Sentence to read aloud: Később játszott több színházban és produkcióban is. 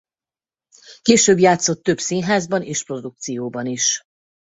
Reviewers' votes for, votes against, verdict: 2, 0, accepted